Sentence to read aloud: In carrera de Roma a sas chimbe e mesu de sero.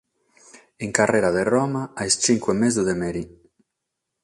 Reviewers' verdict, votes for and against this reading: rejected, 3, 6